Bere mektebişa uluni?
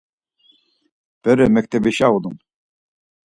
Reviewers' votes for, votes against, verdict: 4, 0, accepted